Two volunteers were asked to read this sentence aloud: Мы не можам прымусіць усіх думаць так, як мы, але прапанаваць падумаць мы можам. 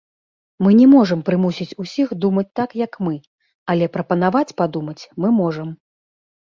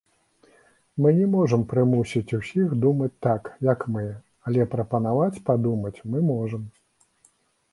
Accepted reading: second